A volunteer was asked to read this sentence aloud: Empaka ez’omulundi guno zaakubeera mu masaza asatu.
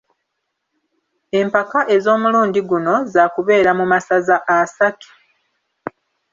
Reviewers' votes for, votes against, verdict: 2, 0, accepted